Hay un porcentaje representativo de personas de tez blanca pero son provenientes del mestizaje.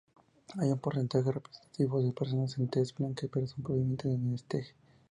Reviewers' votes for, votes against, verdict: 0, 2, rejected